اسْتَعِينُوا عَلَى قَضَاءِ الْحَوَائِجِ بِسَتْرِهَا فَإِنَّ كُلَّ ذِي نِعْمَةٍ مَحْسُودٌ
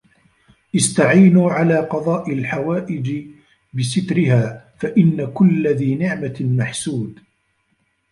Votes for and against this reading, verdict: 0, 2, rejected